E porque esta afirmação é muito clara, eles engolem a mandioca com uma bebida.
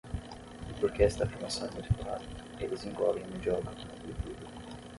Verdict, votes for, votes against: rejected, 3, 6